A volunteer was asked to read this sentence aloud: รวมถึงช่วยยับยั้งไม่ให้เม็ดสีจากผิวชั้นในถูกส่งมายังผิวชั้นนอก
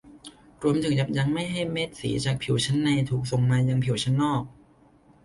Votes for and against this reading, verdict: 0, 2, rejected